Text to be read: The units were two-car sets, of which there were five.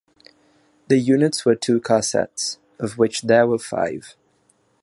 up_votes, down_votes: 6, 0